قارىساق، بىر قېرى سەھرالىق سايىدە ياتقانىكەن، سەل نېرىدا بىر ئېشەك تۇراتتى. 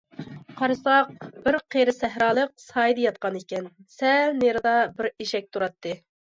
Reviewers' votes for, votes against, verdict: 2, 0, accepted